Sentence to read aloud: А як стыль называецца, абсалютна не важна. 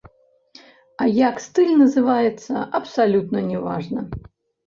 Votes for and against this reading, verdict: 0, 2, rejected